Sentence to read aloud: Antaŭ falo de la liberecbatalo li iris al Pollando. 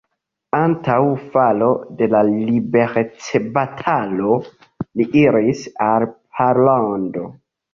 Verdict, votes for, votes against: rejected, 1, 2